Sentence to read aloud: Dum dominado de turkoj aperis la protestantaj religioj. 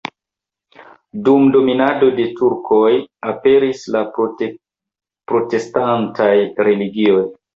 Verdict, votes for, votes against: rejected, 1, 2